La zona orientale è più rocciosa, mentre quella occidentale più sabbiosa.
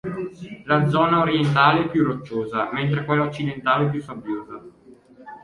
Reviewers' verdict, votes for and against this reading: accepted, 2, 1